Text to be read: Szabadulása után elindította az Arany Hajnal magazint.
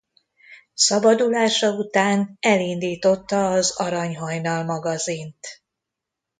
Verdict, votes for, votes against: accepted, 2, 0